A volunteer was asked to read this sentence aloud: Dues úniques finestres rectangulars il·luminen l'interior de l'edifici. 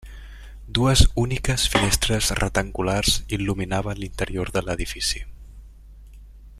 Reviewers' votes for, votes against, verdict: 0, 2, rejected